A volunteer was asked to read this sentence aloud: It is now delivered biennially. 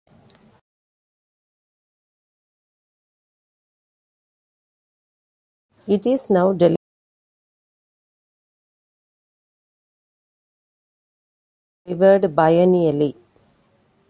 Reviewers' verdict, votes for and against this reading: rejected, 0, 2